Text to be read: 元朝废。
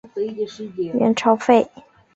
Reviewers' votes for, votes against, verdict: 3, 0, accepted